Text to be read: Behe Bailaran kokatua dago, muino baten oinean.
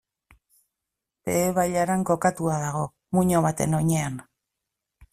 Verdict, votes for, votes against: accepted, 2, 0